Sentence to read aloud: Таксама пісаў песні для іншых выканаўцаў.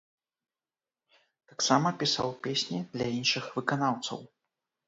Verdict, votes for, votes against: accepted, 2, 0